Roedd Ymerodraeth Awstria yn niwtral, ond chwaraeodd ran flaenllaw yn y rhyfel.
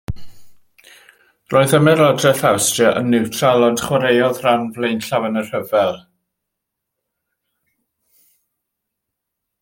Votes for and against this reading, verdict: 2, 0, accepted